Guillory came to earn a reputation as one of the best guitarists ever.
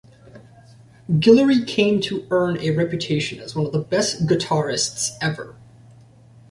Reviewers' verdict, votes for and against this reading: accepted, 2, 0